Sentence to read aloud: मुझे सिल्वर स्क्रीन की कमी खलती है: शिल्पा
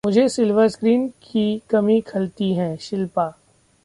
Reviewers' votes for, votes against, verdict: 2, 0, accepted